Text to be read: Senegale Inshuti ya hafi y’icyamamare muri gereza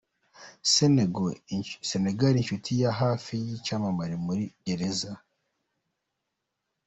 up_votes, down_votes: 1, 2